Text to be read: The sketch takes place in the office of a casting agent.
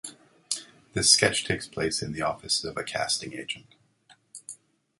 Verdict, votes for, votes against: accepted, 2, 0